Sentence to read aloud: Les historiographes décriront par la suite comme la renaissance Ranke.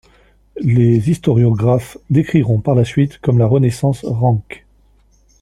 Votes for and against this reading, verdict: 2, 0, accepted